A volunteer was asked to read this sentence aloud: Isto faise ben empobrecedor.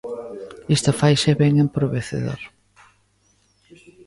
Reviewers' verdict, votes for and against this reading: rejected, 0, 2